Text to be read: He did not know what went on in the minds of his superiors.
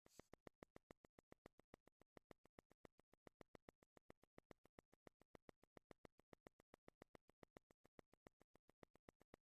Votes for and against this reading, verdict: 0, 2, rejected